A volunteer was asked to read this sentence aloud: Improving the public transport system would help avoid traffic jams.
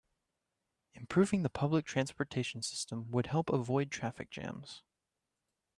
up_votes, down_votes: 1, 2